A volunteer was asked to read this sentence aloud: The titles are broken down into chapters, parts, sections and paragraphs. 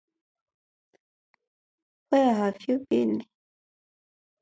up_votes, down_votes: 0, 2